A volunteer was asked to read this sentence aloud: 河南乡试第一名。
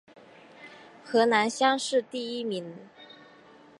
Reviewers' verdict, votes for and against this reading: accepted, 3, 0